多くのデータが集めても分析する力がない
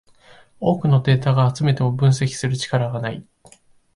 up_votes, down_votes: 1, 2